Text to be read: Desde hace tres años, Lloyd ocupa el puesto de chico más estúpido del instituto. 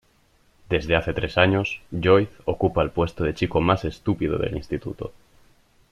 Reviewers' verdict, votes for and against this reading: accepted, 2, 0